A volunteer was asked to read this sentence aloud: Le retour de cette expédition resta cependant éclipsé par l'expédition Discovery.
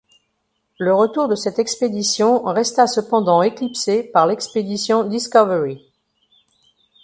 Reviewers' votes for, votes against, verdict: 2, 0, accepted